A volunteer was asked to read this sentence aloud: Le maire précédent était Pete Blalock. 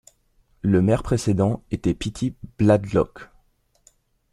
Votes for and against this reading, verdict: 1, 2, rejected